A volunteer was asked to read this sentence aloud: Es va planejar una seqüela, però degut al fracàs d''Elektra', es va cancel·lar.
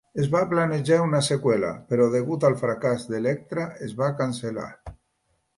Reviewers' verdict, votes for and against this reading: accepted, 2, 0